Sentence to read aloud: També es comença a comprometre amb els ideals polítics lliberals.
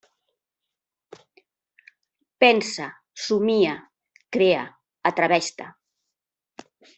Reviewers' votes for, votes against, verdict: 0, 2, rejected